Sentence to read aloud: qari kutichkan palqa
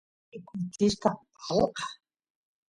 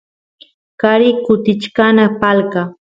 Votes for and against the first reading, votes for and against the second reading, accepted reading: 0, 2, 2, 0, second